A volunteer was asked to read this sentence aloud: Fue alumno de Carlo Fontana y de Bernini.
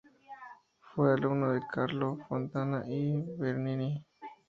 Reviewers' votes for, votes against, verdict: 0, 2, rejected